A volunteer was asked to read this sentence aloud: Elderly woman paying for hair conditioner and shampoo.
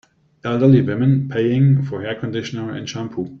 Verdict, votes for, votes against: rejected, 0, 2